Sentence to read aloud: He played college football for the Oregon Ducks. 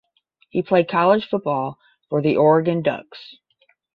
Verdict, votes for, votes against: accepted, 10, 0